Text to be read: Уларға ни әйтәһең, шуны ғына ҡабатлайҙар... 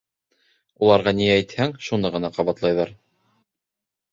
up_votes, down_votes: 1, 2